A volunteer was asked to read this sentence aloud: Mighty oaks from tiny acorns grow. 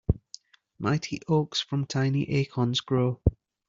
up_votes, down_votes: 2, 0